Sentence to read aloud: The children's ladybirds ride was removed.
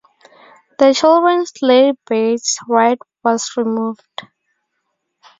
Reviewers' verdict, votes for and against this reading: rejected, 2, 2